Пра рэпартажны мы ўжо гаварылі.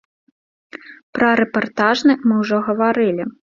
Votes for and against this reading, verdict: 2, 1, accepted